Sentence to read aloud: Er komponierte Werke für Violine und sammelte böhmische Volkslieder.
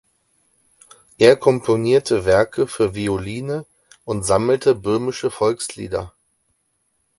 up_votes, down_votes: 4, 0